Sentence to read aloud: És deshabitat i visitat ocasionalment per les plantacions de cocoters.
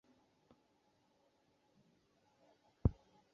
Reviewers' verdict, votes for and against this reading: rejected, 0, 2